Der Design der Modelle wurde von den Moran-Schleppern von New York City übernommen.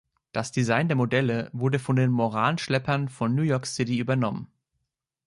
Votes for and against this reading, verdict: 1, 2, rejected